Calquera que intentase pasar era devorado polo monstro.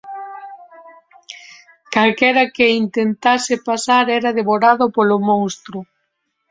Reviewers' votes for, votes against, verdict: 0, 2, rejected